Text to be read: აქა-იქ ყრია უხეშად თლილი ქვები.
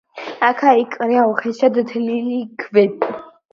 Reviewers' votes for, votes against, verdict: 2, 0, accepted